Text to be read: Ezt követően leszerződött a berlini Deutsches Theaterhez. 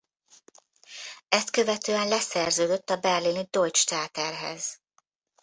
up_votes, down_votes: 0, 2